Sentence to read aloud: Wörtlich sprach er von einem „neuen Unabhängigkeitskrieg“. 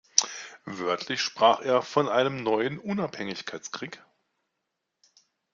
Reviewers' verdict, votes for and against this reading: accepted, 2, 0